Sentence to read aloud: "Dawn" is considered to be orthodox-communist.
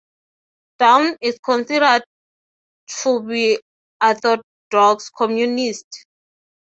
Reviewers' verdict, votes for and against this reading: accepted, 6, 3